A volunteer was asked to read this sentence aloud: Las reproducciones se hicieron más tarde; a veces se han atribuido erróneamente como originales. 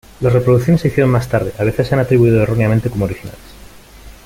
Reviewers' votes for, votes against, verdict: 2, 0, accepted